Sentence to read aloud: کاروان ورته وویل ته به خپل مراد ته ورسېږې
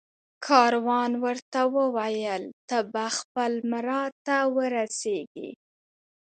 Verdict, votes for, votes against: accepted, 2, 1